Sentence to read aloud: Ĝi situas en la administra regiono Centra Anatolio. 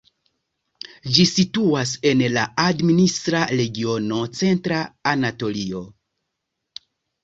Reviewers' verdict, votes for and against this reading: accepted, 2, 0